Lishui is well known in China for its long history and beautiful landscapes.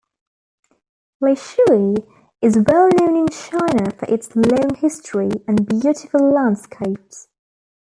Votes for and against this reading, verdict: 2, 0, accepted